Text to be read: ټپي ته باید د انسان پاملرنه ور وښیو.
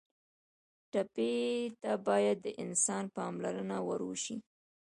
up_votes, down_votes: 2, 0